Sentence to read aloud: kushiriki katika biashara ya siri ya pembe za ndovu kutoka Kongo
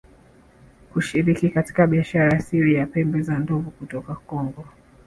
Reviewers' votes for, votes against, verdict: 2, 1, accepted